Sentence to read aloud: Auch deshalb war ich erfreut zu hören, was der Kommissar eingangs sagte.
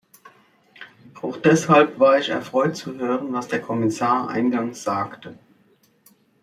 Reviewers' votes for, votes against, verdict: 2, 0, accepted